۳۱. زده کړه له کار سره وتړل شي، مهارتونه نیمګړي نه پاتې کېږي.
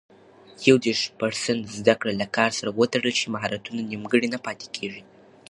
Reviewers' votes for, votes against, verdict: 0, 2, rejected